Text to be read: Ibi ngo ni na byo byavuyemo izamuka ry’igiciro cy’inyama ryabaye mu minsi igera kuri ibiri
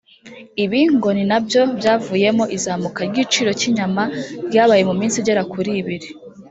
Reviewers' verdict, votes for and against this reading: rejected, 1, 2